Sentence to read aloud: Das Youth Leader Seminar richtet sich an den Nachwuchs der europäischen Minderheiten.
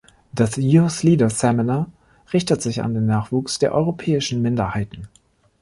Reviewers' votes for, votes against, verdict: 2, 0, accepted